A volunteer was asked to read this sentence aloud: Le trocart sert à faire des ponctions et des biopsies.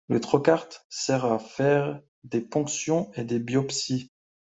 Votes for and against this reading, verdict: 1, 2, rejected